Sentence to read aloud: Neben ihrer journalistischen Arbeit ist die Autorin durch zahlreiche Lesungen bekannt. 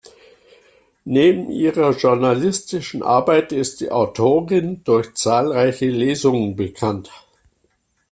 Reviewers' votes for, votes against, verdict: 2, 0, accepted